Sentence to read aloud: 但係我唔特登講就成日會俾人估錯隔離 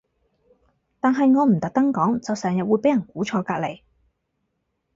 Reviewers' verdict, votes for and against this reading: rejected, 2, 2